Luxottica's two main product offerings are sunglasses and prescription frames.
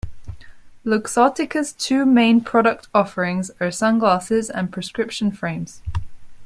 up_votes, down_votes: 2, 0